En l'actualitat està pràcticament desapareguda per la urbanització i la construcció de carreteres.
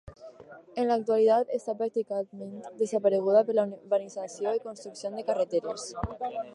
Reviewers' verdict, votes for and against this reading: rejected, 2, 2